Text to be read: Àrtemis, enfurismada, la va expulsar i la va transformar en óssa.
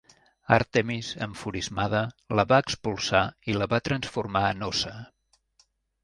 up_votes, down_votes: 2, 0